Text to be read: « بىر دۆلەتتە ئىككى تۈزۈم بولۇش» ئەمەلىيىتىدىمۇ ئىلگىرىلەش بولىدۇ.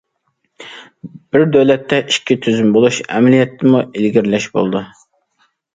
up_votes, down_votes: 0, 2